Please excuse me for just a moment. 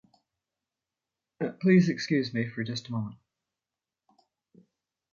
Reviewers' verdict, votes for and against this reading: accepted, 2, 0